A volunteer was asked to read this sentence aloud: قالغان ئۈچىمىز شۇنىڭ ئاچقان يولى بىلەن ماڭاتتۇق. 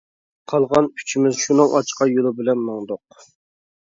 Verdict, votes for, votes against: rejected, 0, 2